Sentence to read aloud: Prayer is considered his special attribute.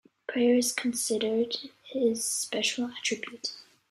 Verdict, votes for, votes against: accepted, 2, 0